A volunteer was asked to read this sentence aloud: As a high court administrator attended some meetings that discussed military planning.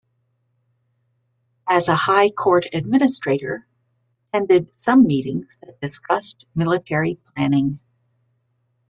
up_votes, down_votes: 2, 1